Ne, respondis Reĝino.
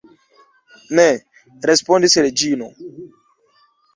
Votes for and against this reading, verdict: 0, 2, rejected